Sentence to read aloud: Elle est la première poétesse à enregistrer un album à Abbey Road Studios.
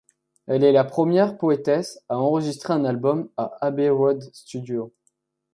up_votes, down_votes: 2, 0